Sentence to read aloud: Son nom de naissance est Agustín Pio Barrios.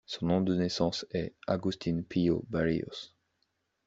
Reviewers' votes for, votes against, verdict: 2, 0, accepted